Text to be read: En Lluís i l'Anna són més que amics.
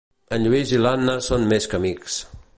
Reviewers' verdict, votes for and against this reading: accepted, 2, 0